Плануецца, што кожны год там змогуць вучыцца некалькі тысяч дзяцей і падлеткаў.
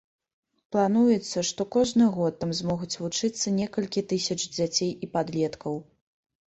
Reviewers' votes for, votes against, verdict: 2, 0, accepted